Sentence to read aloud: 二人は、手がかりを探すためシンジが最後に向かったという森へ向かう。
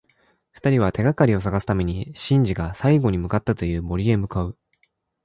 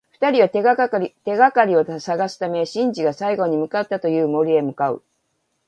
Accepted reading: first